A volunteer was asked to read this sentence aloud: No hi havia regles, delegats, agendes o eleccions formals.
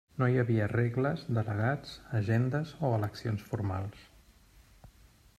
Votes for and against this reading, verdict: 3, 0, accepted